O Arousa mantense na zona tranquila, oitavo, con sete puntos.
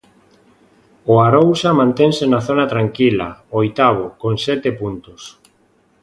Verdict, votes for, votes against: accepted, 2, 0